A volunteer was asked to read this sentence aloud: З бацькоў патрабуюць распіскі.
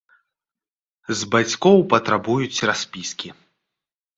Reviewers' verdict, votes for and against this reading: accepted, 2, 0